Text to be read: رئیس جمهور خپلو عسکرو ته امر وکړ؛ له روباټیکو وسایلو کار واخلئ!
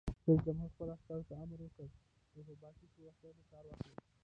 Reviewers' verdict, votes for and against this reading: rejected, 1, 2